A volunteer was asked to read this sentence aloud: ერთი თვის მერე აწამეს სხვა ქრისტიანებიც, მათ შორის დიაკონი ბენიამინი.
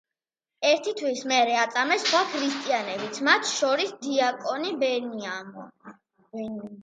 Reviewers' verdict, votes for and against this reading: rejected, 0, 2